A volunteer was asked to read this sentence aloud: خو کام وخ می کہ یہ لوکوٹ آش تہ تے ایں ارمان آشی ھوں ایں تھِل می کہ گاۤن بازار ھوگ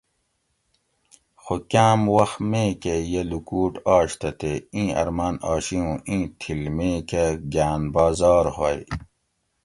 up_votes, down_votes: 2, 0